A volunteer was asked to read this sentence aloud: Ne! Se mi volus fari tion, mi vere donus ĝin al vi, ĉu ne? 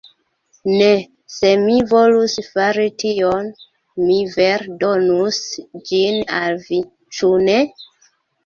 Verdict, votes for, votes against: rejected, 1, 2